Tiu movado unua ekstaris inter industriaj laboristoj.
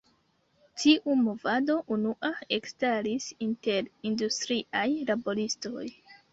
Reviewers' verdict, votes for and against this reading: rejected, 0, 2